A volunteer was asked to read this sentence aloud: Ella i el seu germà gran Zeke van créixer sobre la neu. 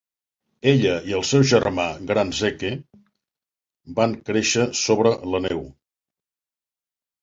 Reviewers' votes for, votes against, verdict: 2, 0, accepted